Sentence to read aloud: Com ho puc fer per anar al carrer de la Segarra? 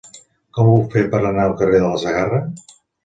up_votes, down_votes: 1, 2